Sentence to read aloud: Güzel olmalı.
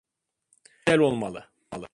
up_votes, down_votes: 0, 2